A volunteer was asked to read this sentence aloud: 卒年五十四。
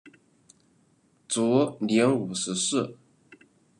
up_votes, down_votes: 0, 2